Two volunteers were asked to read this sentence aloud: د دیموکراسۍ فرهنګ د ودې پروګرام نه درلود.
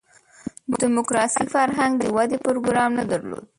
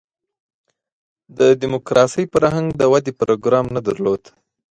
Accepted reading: second